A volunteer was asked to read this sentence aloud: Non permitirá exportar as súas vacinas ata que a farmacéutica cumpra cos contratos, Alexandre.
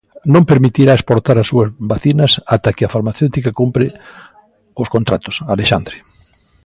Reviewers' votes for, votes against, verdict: 0, 2, rejected